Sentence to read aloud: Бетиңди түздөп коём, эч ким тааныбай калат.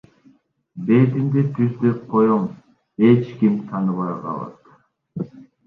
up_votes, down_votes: 1, 2